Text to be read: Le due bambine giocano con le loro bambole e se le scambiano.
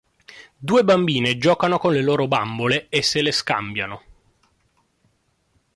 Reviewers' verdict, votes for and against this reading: rejected, 0, 2